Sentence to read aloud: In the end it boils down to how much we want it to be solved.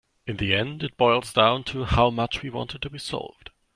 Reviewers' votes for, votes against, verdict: 2, 0, accepted